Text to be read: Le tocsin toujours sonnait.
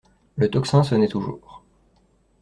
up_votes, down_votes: 1, 2